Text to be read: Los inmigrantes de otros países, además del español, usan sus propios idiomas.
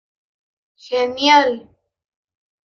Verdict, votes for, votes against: rejected, 0, 2